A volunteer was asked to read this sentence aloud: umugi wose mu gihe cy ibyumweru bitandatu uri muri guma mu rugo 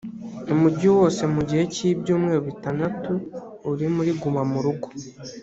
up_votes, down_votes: 2, 0